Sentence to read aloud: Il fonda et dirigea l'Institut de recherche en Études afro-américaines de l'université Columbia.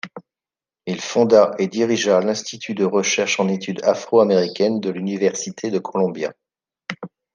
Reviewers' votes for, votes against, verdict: 0, 2, rejected